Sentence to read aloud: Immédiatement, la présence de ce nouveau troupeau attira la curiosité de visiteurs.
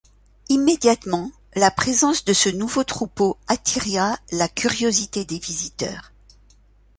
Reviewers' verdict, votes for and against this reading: rejected, 0, 2